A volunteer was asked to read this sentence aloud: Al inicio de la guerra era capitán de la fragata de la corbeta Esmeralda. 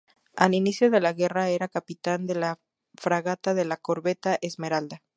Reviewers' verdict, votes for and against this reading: accepted, 2, 0